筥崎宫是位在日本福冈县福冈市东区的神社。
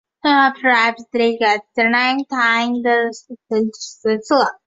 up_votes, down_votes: 1, 3